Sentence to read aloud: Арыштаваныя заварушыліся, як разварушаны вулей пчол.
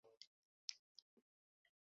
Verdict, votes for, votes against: rejected, 1, 2